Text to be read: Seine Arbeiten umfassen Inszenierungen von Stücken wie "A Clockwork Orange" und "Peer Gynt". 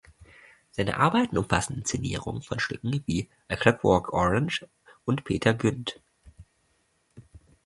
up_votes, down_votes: 0, 2